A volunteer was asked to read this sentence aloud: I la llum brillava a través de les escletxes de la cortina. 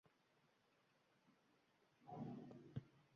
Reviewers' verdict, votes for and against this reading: rejected, 1, 2